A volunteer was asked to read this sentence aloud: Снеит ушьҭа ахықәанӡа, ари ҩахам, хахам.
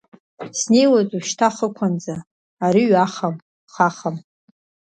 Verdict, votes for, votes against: rejected, 1, 2